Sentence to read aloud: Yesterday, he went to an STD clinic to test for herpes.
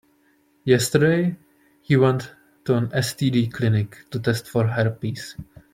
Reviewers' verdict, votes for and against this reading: accepted, 2, 0